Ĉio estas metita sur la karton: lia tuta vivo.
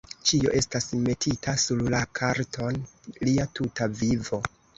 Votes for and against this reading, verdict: 1, 2, rejected